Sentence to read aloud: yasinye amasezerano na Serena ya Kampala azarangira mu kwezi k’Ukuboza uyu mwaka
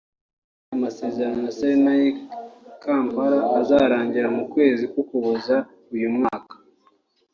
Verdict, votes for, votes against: rejected, 0, 2